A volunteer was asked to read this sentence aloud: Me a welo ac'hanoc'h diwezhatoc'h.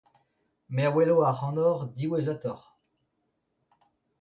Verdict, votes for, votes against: accepted, 2, 1